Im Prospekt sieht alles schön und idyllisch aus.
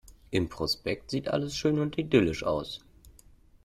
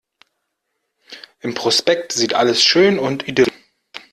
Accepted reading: first